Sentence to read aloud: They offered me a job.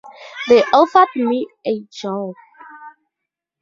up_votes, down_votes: 4, 0